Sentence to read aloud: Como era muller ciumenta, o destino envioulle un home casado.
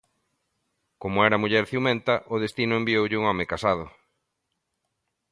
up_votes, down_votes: 3, 0